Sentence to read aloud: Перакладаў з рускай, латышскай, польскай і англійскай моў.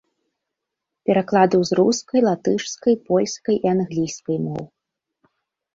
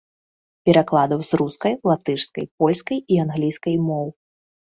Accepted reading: second